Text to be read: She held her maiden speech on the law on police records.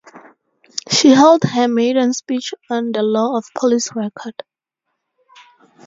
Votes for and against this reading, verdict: 0, 2, rejected